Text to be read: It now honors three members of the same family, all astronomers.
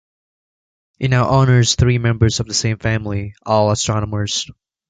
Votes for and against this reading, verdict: 3, 0, accepted